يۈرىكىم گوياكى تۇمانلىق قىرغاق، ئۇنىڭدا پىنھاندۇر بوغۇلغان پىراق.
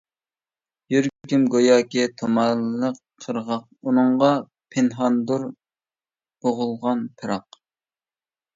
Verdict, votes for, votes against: rejected, 0, 2